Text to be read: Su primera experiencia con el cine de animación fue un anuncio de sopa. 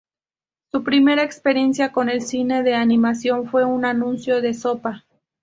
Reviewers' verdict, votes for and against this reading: accepted, 2, 0